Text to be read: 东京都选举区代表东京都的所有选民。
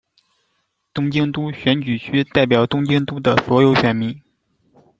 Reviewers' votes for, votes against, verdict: 2, 0, accepted